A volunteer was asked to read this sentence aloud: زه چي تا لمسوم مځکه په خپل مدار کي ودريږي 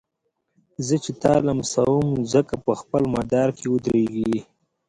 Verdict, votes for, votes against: accepted, 2, 1